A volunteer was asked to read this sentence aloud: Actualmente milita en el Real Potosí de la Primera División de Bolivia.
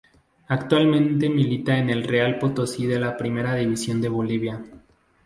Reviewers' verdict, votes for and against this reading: accepted, 2, 0